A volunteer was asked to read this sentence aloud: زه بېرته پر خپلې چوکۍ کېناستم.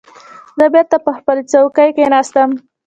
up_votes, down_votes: 0, 2